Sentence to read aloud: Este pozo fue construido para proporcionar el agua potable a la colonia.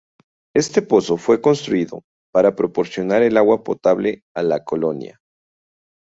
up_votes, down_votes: 0, 2